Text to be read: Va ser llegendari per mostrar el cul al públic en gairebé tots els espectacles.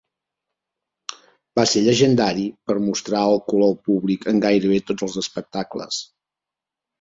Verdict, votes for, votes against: accepted, 3, 0